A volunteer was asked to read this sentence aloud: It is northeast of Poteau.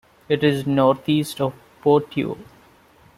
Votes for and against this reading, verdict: 2, 0, accepted